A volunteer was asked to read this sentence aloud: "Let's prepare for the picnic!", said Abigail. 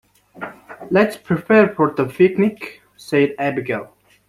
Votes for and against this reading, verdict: 2, 0, accepted